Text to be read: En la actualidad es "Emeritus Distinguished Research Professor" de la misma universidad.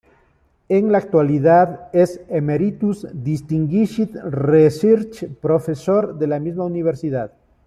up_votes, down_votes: 1, 2